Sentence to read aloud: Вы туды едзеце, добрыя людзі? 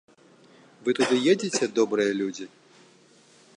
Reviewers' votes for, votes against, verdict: 2, 0, accepted